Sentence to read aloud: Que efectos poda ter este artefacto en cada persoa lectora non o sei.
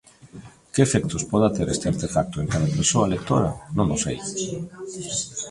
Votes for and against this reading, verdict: 1, 2, rejected